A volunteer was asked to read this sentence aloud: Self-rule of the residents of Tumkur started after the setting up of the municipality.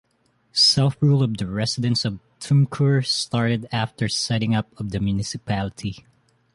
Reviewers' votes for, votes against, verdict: 1, 2, rejected